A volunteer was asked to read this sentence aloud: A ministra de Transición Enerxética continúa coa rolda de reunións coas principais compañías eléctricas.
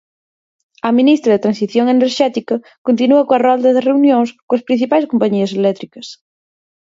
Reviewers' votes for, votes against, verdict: 4, 0, accepted